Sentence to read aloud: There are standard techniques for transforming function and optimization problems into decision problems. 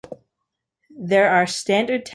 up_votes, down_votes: 0, 2